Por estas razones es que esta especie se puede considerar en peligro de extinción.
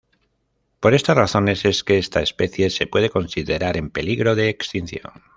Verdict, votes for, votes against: accepted, 2, 0